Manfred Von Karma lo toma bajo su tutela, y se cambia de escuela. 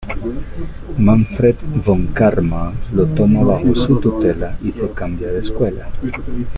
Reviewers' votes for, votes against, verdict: 1, 2, rejected